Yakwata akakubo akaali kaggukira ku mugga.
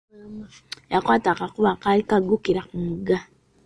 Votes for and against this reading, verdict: 2, 1, accepted